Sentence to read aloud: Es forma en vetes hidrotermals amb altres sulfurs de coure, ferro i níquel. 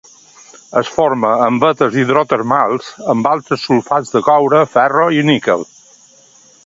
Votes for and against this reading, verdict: 1, 2, rejected